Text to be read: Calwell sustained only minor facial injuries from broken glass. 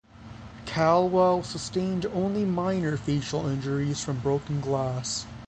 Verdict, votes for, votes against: rejected, 3, 3